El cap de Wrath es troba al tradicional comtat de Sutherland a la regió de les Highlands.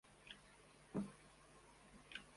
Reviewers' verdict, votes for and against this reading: rejected, 0, 2